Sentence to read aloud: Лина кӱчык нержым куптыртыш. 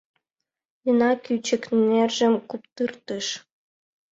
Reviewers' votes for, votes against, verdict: 2, 0, accepted